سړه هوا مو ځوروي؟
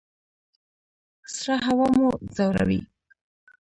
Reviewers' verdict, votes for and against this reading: rejected, 1, 2